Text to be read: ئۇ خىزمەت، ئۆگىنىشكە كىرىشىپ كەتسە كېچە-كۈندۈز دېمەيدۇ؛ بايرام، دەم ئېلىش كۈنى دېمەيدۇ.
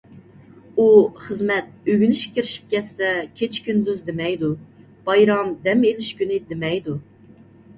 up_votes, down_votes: 2, 0